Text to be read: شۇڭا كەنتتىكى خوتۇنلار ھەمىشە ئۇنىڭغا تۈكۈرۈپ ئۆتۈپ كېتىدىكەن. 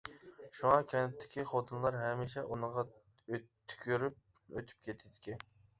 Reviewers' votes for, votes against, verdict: 0, 2, rejected